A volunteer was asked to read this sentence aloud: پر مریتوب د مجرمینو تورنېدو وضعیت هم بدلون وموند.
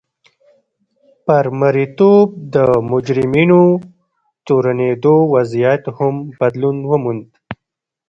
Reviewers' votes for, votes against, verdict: 1, 2, rejected